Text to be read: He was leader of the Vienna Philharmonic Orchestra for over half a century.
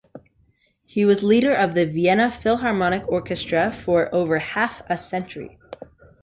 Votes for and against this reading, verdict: 3, 0, accepted